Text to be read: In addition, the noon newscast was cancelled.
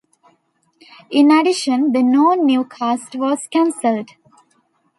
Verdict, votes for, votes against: rejected, 1, 2